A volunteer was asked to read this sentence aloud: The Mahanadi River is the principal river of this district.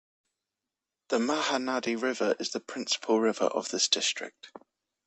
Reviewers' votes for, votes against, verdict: 2, 0, accepted